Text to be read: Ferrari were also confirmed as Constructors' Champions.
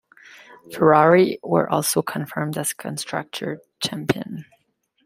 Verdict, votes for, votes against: rejected, 1, 2